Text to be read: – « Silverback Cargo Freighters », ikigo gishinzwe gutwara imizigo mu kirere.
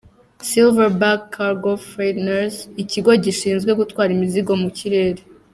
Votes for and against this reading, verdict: 2, 0, accepted